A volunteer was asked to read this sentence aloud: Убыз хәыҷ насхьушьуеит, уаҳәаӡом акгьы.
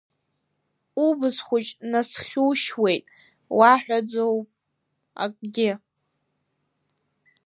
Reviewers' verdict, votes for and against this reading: accepted, 2, 0